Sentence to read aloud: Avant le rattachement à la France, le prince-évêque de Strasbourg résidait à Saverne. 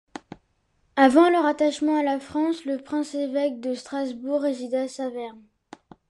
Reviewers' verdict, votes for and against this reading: accepted, 2, 0